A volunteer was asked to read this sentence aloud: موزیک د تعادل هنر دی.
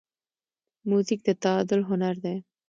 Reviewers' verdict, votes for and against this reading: accepted, 2, 0